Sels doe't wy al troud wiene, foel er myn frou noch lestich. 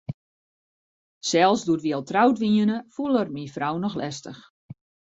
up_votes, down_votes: 2, 0